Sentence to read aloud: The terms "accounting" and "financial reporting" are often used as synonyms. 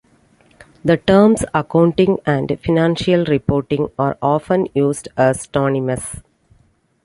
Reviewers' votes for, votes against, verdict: 0, 2, rejected